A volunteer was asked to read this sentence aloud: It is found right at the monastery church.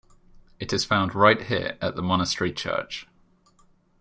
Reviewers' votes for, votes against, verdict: 1, 3, rejected